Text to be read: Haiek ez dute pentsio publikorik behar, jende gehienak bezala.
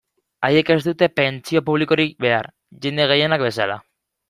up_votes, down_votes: 2, 0